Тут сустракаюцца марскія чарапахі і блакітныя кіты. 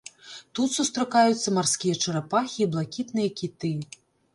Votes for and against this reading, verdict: 3, 0, accepted